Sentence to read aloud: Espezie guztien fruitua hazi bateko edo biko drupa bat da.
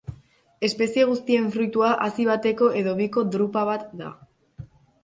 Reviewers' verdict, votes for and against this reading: accepted, 2, 1